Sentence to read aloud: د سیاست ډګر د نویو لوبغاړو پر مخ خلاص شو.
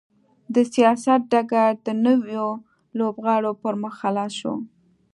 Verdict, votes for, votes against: accepted, 2, 0